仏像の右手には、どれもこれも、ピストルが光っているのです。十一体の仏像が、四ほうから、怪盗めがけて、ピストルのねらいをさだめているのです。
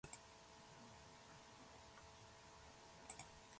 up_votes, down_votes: 0, 2